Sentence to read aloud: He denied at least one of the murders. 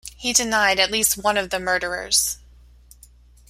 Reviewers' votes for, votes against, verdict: 0, 2, rejected